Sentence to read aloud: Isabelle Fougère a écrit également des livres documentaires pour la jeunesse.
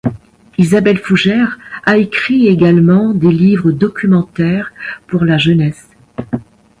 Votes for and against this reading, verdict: 2, 0, accepted